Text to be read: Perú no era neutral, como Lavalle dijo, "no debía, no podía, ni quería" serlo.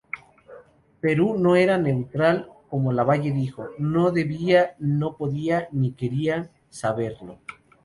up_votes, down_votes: 0, 2